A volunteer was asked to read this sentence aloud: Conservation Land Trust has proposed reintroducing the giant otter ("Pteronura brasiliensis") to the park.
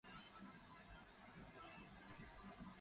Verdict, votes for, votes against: rejected, 0, 4